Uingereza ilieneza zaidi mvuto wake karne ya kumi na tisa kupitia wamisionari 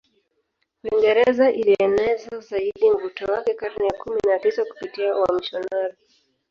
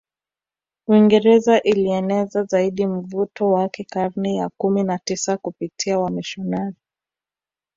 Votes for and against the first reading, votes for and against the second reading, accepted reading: 0, 3, 2, 0, second